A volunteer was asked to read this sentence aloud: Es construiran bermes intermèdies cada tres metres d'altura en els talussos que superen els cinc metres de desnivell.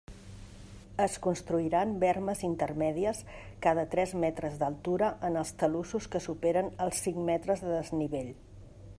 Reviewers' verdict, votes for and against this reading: accepted, 2, 0